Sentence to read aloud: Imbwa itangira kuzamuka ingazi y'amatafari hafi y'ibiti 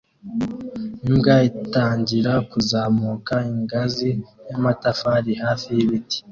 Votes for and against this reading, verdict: 2, 0, accepted